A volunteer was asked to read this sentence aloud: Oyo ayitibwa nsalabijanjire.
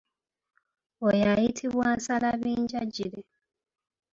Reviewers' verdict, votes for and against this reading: accepted, 3, 1